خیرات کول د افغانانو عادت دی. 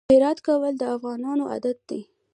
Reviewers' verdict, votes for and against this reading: rejected, 1, 2